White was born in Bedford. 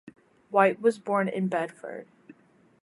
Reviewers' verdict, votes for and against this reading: rejected, 0, 2